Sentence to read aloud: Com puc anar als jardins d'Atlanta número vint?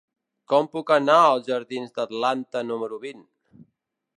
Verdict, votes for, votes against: accepted, 2, 1